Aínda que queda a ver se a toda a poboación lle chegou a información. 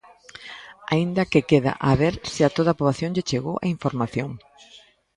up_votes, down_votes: 2, 1